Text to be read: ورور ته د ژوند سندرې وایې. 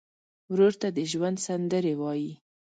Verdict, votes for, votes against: accepted, 2, 0